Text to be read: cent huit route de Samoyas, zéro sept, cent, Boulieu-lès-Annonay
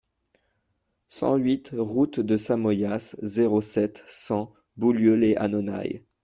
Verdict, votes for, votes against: rejected, 1, 2